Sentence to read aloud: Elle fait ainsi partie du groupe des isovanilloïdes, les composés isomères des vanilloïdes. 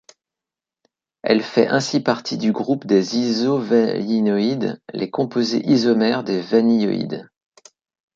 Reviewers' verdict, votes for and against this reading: rejected, 0, 3